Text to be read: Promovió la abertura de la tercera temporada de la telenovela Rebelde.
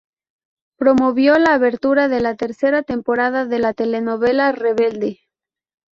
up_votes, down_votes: 4, 0